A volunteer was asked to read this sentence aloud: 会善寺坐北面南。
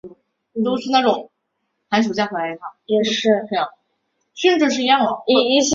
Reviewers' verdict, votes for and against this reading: rejected, 0, 4